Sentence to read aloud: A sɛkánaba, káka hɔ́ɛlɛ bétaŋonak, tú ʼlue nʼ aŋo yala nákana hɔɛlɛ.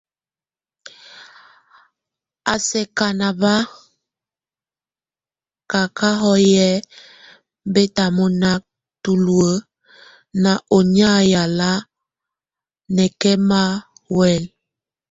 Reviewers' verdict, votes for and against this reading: rejected, 1, 2